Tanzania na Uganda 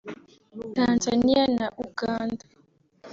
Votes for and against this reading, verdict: 3, 0, accepted